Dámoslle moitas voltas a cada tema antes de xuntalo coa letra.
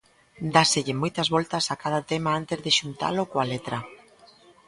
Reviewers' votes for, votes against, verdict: 0, 2, rejected